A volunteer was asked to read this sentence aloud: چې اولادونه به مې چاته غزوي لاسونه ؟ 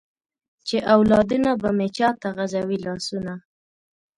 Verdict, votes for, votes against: accepted, 2, 0